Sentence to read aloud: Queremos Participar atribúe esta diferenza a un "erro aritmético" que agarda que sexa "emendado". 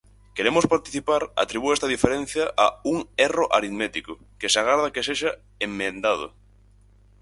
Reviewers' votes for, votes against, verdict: 0, 4, rejected